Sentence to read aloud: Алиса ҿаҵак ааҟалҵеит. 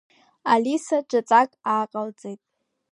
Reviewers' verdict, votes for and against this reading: accepted, 2, 0